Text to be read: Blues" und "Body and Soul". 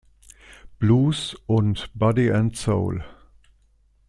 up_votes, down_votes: 2, 0